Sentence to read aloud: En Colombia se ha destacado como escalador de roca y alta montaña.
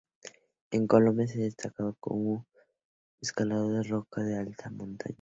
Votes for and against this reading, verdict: 2, 0, accepted